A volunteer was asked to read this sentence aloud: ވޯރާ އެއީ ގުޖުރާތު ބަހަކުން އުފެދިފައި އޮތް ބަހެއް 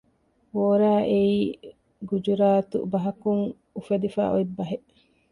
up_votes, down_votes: 2, 0